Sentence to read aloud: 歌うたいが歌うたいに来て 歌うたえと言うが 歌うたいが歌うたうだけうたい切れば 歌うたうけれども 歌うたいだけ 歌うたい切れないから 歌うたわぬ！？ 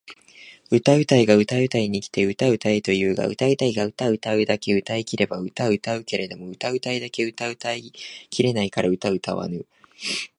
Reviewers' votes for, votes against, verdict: 2, 0, accepted